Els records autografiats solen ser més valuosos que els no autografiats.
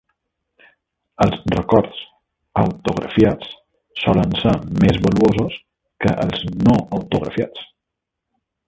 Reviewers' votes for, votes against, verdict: 2, 1, accepted